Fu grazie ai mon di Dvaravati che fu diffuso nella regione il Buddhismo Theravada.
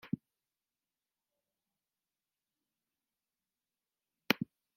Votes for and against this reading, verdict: 0, 2, rejected